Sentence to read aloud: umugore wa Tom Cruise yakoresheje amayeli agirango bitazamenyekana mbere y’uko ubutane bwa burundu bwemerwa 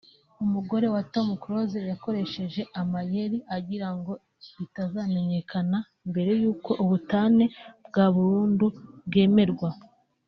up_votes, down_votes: 2, 0